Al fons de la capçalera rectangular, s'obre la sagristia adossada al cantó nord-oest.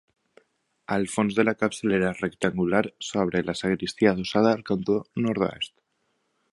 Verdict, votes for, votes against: accepted, 4, 2